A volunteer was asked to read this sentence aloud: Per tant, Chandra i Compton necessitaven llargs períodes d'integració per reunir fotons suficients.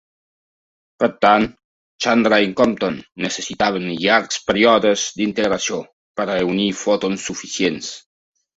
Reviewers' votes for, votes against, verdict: 1, 2, rejected